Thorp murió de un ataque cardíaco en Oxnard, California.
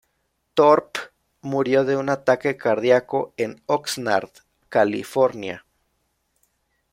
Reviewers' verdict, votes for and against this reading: rejected, 1, 2